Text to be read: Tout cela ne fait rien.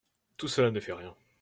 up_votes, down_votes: 2, 0